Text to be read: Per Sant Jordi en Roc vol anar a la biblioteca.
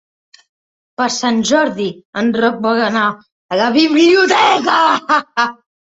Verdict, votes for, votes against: rejected, 0, 2